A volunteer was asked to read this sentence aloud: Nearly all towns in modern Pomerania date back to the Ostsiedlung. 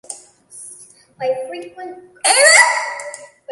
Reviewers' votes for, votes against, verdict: 0, 2, rejected